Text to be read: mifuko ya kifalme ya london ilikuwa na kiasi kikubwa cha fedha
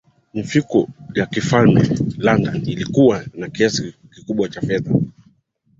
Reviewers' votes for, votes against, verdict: 2, 0, accepted